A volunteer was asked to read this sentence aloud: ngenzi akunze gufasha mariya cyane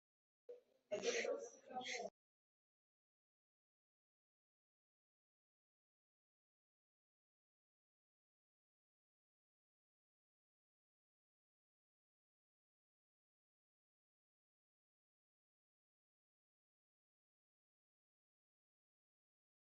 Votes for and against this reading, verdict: 0, 2, rejected